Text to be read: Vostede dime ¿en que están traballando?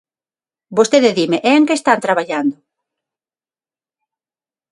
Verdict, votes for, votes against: rejected, 0, 6